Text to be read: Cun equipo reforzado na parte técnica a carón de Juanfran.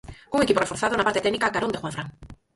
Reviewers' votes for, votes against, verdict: 0, 4, rejected